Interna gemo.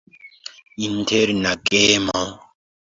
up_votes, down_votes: 2, 1